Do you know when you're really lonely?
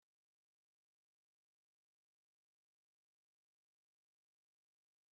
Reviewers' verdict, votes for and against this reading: rejected, 0, 2